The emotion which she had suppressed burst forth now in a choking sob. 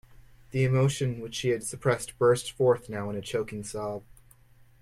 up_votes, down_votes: 2, 0